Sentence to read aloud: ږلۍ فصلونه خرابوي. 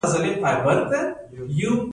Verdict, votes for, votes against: rejected, 1, 2